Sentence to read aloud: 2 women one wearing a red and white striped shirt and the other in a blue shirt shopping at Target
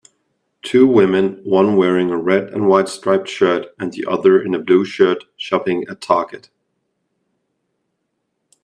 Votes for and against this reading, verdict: 0, 2, rejected